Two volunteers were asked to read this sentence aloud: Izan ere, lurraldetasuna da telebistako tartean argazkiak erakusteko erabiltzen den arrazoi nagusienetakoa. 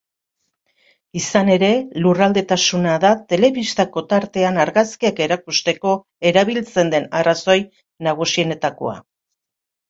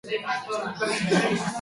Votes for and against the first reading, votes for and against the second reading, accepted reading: 2, 0, 0, 2, first